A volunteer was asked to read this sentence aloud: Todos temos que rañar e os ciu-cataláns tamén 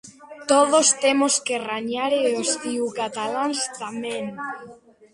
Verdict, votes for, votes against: rejected, 1, 2